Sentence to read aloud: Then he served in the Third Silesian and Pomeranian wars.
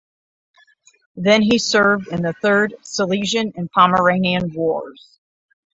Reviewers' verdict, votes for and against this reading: rejected, 3, 3